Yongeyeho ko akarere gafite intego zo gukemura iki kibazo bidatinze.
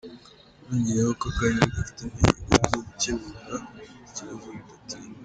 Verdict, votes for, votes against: rejected, 0, 2